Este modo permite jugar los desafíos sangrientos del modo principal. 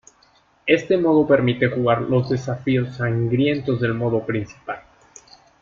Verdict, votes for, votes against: accepted, 2, 0